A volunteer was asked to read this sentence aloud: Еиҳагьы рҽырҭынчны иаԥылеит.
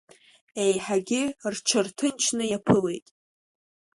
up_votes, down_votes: 2, 0